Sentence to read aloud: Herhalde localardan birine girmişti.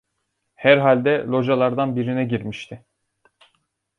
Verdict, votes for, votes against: accepted, 2, 0